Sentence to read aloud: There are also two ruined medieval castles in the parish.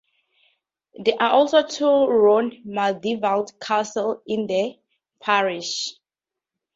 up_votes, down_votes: 0, 4